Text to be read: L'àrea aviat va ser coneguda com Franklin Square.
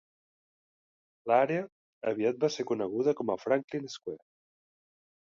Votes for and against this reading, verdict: 2, 4, rejected